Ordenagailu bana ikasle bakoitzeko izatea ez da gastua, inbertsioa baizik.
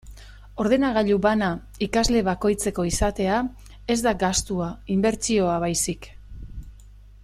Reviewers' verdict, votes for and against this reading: accepted, 2, 0